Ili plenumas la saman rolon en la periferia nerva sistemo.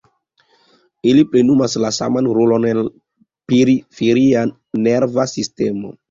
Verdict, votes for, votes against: accepted, 2, 0